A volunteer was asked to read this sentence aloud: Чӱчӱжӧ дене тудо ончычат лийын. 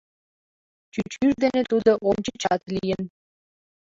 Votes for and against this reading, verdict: 0, 2, rejected